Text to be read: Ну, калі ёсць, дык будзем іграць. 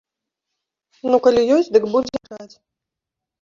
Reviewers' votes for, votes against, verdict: 0, 2, rejected